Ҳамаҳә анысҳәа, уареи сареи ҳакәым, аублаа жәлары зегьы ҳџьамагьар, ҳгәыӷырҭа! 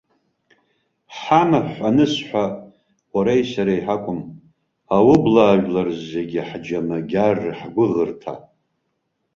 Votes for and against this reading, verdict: 1, 2, rejected